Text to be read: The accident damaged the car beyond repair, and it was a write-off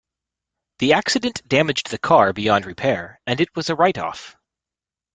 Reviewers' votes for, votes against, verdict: 2, 0, accepted